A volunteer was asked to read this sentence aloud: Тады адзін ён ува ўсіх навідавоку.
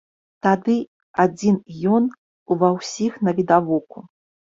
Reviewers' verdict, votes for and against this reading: accepted, 2, 0